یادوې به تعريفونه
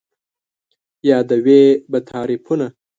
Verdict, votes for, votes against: accepted, 2, 0